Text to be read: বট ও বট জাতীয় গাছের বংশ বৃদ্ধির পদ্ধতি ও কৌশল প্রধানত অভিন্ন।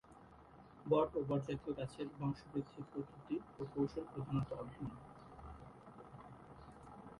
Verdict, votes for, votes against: rejected, 2, 4